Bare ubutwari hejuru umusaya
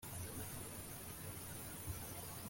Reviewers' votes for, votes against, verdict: 0, 2, rejected